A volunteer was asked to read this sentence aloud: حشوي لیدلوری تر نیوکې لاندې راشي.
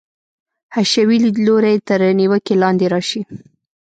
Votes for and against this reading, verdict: 2, 0, accepted